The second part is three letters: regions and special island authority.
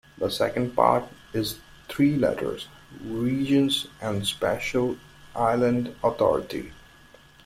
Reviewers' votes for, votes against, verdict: 2, 0, accepted